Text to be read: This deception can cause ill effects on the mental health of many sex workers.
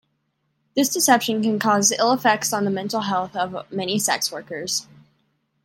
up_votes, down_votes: 2, 0